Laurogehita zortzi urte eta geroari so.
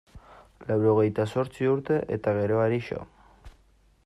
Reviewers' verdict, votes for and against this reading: accepted, 2, 0